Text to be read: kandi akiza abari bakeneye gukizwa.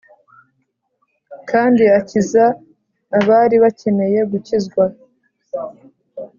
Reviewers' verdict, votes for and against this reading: accepted, 2, 0